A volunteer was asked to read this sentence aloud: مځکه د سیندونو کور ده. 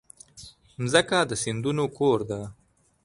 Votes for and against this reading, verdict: 2, 0, accepted